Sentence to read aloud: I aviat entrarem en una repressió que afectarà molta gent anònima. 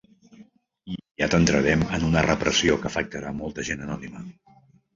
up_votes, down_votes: 1, 2